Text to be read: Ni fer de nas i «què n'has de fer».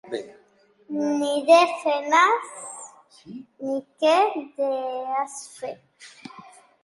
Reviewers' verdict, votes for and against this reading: rejected, 1, 2